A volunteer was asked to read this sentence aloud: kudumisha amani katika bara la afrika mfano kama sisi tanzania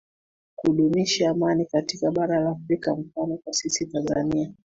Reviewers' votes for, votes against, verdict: 1, 2, rejected